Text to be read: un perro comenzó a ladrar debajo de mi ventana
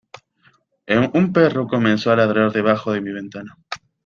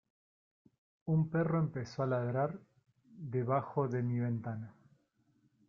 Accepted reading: second